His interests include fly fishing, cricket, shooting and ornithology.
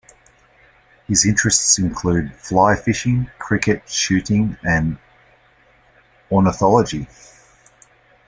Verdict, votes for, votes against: accepted, 2, 0